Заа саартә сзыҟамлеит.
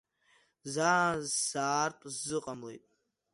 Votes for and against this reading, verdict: 1, 2, rejected